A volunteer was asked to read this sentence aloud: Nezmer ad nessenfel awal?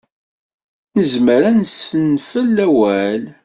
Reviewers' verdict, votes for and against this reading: rejected, 1, 2